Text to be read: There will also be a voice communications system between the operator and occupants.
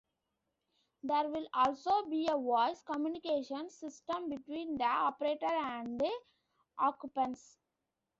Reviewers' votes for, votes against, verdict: 0, 2, rejected